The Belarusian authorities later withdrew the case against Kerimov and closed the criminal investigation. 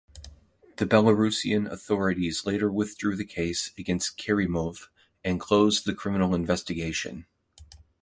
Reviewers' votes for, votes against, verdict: 2, 0, accepted